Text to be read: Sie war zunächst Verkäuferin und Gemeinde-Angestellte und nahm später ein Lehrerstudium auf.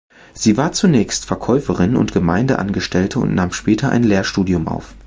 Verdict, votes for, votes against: rejected, 1, 2